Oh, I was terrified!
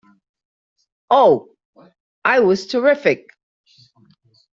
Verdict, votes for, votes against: rejected, 0, 3